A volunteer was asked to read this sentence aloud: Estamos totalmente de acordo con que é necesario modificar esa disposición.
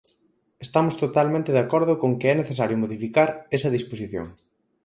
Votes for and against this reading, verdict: 4, 0, accepted